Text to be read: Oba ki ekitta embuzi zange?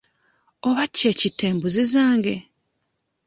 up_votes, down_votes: 2, 1